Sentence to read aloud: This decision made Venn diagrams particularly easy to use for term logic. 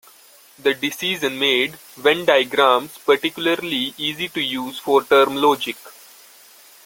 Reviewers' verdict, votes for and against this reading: rejected, 1, 2